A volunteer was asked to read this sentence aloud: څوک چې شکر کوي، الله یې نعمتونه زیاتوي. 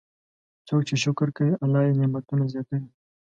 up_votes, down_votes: 2, 0